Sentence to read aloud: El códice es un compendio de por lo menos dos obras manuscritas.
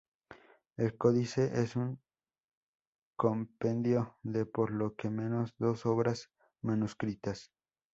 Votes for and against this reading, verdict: 0, 2, rejected